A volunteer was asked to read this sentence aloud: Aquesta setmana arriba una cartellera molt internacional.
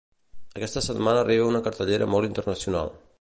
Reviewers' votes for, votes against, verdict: 2, 0, accepted